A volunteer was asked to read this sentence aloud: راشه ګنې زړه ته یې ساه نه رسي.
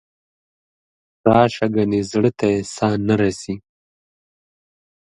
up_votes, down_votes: 2, 0